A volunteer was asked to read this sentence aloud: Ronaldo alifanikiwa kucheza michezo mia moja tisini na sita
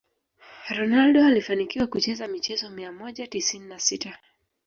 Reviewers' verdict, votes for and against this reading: rejected, 0, 2